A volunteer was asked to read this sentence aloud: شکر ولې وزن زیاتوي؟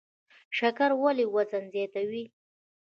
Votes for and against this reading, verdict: 1, 2, rejected